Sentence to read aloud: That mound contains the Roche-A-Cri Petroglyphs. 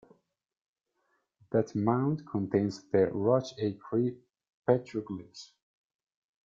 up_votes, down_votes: 0, 2